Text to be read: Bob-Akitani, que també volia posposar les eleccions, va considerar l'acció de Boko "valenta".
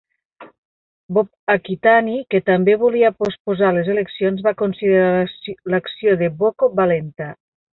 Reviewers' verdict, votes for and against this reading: rejected, 1, 2